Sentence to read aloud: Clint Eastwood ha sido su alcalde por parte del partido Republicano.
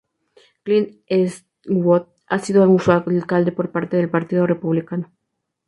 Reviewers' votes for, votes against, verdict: 0, 2, rejected